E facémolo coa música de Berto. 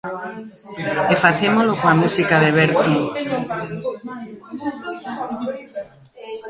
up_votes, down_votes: 1, 2